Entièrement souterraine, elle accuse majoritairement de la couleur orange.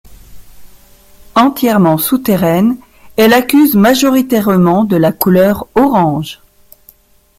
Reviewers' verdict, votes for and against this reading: accepted, 2, 1